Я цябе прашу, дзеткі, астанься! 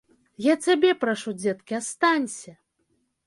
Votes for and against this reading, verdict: 2, 0, accepted